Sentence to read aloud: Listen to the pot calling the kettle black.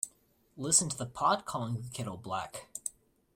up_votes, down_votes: 0, 2